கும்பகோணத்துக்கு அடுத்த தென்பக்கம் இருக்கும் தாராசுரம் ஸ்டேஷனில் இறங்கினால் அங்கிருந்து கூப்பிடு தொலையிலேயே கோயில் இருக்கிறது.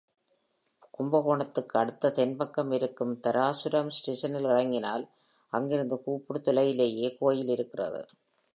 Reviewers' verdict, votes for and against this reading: accepted, 3, 0